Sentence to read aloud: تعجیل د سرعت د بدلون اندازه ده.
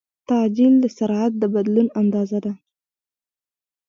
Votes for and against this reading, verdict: 1, 2, rejected